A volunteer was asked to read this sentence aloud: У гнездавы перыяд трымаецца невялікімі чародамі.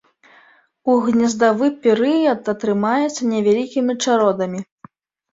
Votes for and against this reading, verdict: 1, 2, rejected